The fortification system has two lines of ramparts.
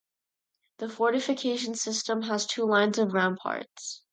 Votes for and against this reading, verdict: 0, 2, rejected